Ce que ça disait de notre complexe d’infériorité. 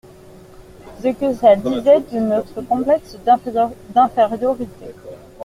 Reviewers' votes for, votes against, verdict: 0, 2, rejected